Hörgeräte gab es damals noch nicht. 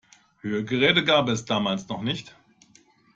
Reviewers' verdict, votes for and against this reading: accepted, 2, 0